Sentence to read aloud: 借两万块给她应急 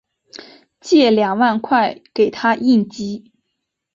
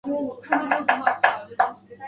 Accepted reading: first